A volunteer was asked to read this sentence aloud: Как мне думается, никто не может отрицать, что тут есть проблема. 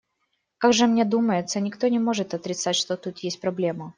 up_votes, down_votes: 0, 2